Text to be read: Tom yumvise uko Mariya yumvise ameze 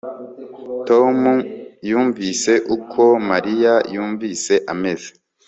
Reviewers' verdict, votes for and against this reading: accepted, 2, 0